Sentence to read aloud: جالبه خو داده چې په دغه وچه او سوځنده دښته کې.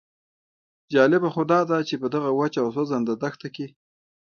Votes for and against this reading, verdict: 2, 0, accepted